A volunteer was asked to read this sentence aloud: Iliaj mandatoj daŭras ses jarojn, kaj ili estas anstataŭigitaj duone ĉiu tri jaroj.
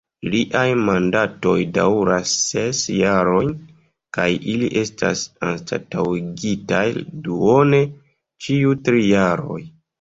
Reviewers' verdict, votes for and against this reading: rejected, 2, 3